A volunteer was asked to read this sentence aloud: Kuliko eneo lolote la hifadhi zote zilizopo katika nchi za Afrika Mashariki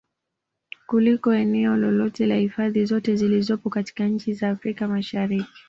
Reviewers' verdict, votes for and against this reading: accepted, 2, 0